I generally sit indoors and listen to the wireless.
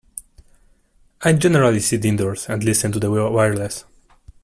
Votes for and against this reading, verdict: 0, 2, rejected